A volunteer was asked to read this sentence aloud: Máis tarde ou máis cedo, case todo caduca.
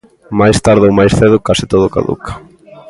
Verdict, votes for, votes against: accepted, 2, 0